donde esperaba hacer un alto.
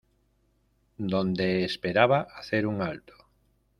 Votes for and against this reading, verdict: 2, 0, accepted